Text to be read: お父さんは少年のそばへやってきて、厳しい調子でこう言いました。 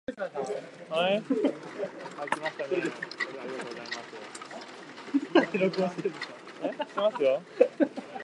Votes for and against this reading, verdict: 0, 2, rejected